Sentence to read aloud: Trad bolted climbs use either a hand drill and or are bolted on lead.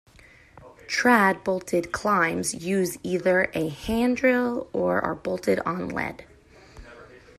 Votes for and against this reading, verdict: 2, 0, accepted